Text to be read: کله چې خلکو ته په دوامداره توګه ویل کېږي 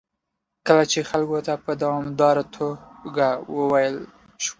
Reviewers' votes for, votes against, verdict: 1, 2, rejected